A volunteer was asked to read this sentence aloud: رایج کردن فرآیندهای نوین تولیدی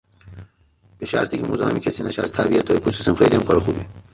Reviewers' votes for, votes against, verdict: 0, 2, rejected